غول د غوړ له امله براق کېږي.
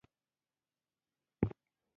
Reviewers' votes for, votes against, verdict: 1, 2, rejected